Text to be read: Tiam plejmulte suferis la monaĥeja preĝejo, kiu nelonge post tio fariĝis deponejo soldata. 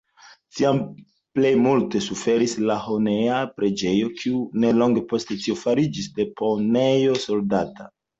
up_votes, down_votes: 1, 2